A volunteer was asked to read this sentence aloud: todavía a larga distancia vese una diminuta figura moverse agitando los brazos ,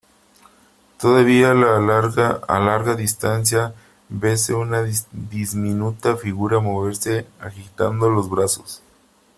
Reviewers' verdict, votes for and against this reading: rejected, 0, 3